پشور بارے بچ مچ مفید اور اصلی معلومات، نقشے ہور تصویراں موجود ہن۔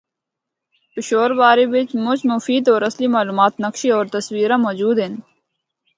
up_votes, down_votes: 2, 0